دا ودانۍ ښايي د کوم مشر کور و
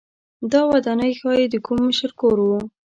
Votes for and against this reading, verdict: 2, 0, accepted